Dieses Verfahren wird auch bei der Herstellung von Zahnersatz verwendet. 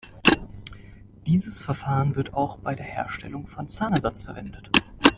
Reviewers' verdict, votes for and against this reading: accepted, 2, 0